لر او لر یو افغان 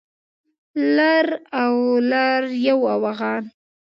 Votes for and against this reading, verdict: 1, 2, rejected